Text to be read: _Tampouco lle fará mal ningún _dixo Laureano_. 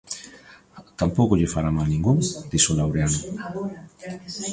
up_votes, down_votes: 0, 2